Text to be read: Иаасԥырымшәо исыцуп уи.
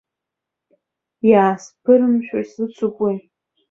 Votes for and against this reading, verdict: 2, 0, accepted